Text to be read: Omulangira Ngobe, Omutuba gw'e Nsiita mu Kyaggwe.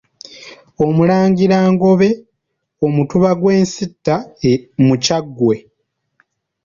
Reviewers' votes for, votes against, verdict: 2, 0, accepted